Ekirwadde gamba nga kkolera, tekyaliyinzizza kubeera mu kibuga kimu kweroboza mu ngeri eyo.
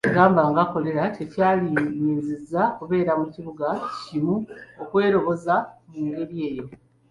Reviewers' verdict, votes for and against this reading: rejected, 0, 2